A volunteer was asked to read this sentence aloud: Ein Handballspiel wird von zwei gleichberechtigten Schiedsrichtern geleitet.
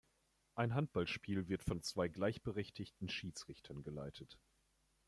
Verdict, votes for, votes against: accepted, 2, 0